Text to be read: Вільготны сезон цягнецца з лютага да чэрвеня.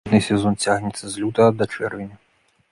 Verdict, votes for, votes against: rejected, 0, 2